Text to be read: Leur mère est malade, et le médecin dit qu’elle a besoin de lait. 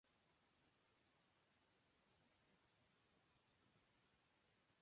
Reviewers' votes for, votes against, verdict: 1, 2, rejected